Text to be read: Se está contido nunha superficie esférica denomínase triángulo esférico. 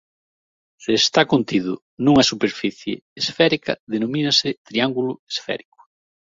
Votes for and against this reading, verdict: 6, 0, accepted